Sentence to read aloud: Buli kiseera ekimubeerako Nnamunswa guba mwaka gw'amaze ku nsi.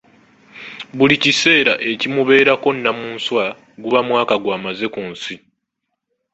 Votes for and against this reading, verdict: 2, 1, accepted